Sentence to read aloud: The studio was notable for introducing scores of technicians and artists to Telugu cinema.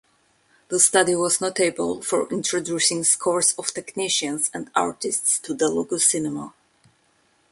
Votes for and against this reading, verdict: 1, 2, rejected